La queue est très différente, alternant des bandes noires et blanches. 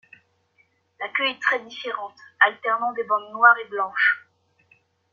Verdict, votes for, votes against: accepted, 2, 0